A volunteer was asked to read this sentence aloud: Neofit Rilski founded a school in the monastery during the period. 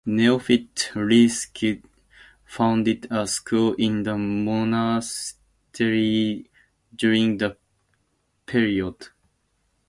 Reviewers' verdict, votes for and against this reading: accepted, 2, 0